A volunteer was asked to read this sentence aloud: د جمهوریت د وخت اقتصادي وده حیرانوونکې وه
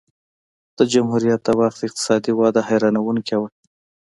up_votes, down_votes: 2, 0